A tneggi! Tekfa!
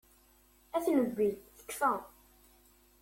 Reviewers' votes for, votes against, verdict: 2, 0, accepted